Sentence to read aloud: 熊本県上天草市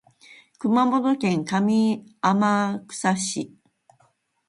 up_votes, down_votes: 14, 3